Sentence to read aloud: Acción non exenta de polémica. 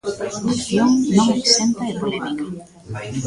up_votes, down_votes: 0, 2